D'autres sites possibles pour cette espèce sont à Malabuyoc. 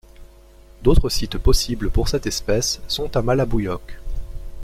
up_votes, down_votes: 2, 0